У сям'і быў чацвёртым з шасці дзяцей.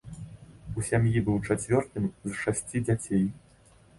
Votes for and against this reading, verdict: 1, 2, rejected